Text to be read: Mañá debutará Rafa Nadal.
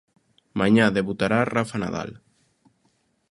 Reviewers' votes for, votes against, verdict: 2, 0, accepted